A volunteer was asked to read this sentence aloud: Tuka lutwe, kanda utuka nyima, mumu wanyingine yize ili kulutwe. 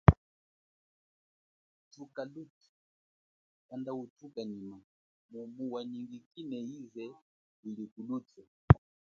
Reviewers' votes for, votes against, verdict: 0, 2, rejected